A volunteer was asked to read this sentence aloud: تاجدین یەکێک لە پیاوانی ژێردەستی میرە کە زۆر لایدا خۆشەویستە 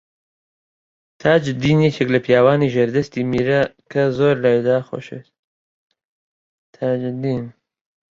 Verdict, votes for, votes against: rejected, 0, 3